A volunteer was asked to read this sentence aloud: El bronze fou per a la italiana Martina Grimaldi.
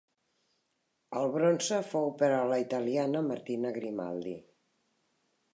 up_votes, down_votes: 3, 0